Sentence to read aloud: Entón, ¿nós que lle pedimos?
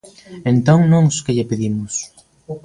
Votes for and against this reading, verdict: 0, 2, rejected